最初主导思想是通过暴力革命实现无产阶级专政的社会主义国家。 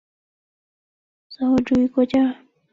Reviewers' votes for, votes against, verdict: 1, 2, rejected